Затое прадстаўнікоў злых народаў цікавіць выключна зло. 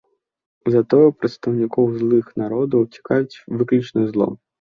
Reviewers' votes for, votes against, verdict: 2, 3, rejected